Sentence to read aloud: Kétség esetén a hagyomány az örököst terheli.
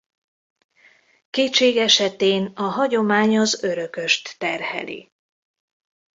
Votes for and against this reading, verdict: 2, 0, accepted